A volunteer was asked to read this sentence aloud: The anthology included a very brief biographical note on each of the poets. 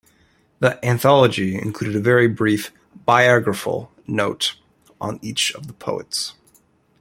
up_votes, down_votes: 1, 2